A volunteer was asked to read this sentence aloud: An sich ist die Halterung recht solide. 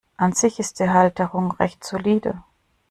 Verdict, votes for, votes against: accepted, 2, 0